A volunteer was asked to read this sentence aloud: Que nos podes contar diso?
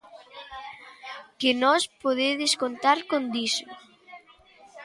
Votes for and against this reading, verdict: 0, 2, rejected